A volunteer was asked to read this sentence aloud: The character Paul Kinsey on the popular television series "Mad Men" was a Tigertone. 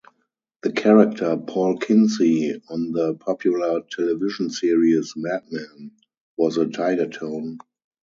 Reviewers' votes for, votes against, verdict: 0, 2, rejected